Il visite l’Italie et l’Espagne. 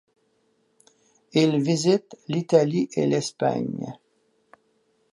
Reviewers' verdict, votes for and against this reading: accepted, 2, 0